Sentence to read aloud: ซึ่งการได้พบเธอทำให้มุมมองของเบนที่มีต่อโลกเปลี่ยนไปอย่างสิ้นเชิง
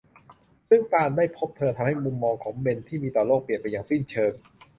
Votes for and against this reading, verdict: 2, 0, accepted